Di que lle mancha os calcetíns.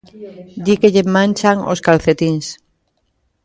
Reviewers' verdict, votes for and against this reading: rejected, 0, 2